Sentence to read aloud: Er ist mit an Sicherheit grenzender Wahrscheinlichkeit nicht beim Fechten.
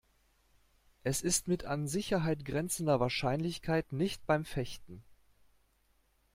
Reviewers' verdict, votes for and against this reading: rejected, 0, 2